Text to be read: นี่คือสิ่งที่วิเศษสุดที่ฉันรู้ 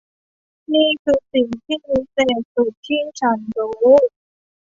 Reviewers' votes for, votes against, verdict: 2, 0, accepted